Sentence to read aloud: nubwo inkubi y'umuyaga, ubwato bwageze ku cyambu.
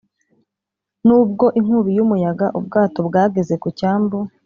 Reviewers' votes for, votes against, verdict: 2, 0, accepted